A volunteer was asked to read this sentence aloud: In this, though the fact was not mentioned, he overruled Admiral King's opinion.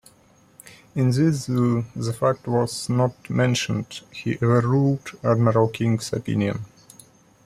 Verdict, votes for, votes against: rejected, 1, 2